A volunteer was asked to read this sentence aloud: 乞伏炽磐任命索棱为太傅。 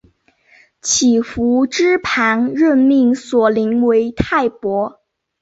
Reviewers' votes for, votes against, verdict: 2, 0, accepted